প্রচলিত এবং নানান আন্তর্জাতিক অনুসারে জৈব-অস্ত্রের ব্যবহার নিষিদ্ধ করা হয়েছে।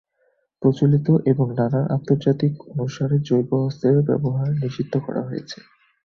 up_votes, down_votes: 0, 2